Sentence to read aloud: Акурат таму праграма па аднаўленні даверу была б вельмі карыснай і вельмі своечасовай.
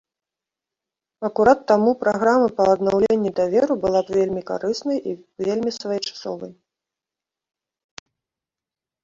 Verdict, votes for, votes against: rejected, 1, 2